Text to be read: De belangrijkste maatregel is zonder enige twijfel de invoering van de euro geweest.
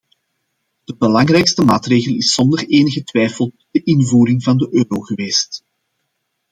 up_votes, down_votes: 2, 0